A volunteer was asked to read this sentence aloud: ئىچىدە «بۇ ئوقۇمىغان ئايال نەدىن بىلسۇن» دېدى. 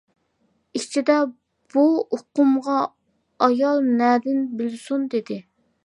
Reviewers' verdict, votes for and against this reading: rejected, 0, 2